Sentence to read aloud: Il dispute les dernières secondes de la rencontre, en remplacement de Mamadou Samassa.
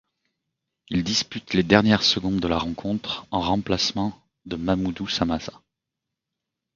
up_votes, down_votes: 0, 2